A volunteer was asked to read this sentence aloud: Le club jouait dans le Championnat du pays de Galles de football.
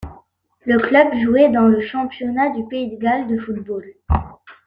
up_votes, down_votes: 2, 0